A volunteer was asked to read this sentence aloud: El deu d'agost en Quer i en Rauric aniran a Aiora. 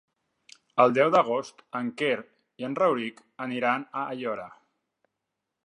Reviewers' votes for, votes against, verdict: 3, 0, accepted